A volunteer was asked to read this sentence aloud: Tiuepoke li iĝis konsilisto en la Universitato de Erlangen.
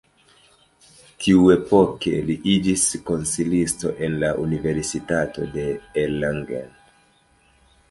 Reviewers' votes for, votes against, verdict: 1, 2, rejected